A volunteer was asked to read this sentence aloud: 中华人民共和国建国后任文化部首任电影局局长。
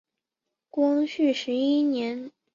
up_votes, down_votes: 1, 2